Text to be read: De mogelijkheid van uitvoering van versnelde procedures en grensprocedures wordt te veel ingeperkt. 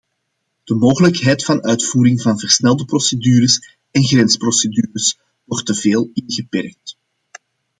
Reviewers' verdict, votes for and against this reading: accepted, 2, 0